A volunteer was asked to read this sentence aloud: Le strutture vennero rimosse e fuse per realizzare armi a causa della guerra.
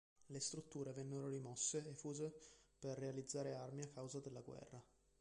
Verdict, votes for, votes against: rejected, 0, 2